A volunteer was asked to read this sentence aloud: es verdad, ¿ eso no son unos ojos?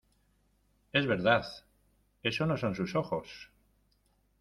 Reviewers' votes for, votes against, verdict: 0, 2, rejected